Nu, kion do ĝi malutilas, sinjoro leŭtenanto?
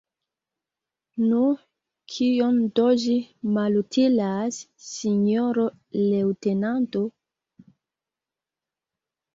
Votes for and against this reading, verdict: 2, 1, accepted